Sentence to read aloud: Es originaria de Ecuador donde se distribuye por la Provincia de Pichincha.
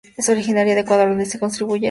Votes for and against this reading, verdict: 0, 2, rejected